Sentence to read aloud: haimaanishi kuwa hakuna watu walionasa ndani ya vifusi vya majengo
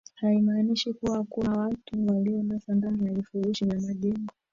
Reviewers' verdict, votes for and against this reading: rejected, 0, 2